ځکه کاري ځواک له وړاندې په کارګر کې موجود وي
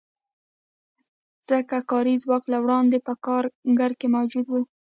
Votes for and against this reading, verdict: 1, 2, rejected